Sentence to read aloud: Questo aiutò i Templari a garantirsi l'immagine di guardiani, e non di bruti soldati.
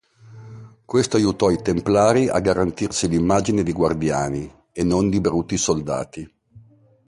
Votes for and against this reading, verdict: 2, 0, accepted